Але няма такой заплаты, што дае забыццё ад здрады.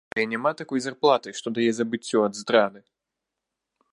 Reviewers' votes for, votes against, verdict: 1, 2, rejected